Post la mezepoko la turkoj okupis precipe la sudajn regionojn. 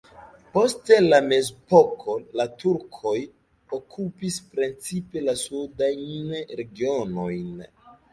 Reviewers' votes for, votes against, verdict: 0, 2, rejected